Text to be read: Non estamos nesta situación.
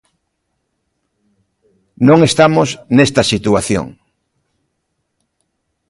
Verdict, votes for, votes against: accepted, 2, 0